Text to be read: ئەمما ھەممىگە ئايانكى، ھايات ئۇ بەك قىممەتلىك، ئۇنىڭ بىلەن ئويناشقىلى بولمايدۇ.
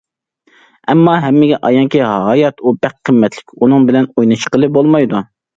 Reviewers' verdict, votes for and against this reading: accepted, 2, 0